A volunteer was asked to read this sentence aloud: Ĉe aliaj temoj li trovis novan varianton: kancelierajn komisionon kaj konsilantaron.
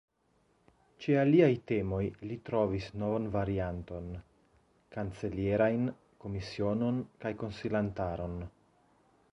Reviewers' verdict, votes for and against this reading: accepted, 2, 0